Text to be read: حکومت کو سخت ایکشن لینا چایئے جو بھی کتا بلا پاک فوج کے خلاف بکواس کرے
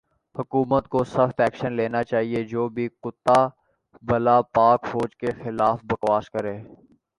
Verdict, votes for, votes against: accepted, 2, 0